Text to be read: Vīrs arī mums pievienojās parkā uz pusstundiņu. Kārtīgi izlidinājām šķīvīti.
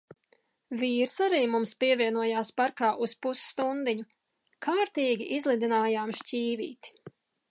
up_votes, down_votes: 2, 0